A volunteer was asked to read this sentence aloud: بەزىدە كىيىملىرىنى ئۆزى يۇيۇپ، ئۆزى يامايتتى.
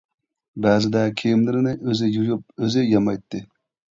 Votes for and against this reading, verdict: 2, 0, accepted